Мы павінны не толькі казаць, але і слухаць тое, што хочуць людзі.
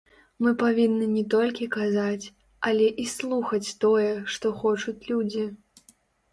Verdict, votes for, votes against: rejected, 1, 2